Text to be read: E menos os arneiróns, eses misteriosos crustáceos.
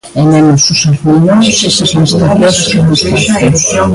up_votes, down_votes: 0, 2